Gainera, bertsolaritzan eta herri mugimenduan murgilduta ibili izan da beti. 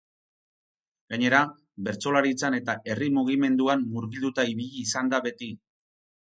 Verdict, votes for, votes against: rejected, 2, 2